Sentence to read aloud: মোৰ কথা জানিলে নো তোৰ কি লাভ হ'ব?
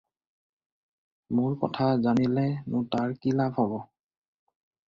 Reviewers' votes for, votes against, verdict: 4, 0, accepted